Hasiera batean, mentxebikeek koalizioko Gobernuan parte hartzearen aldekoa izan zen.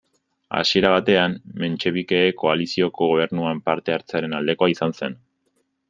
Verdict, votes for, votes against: accepted, 2, 1